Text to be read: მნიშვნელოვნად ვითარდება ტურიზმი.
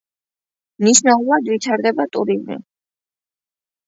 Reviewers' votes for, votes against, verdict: 2, 1, accepted